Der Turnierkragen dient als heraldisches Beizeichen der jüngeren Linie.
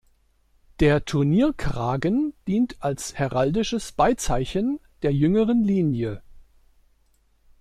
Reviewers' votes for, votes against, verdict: 2, 0, accepted